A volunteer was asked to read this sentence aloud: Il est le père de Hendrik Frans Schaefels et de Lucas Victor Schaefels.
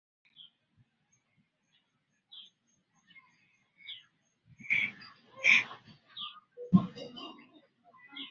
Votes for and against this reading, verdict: 0, 2, rejected